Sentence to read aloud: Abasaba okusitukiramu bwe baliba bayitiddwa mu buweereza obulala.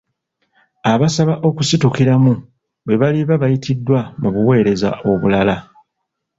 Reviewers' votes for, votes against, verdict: 2, 0, accepted